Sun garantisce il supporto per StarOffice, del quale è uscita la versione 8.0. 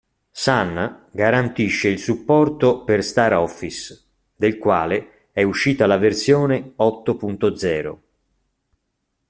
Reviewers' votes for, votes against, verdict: 0, 2, rejected